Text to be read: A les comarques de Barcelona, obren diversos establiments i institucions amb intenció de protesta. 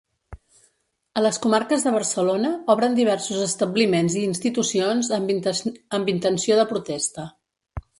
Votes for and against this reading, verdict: 0, 2, rejected